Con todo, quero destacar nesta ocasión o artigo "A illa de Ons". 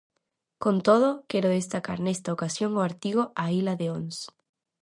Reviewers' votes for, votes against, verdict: 0, 2, rejected